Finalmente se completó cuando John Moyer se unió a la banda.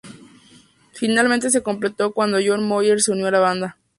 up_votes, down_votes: 2, 0